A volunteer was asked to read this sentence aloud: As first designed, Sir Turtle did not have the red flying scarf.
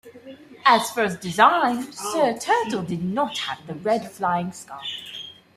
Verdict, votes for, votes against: accepted, 2, 1